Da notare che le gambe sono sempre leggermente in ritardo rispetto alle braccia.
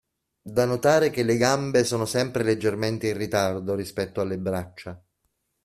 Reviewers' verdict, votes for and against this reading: accepted, 2, 0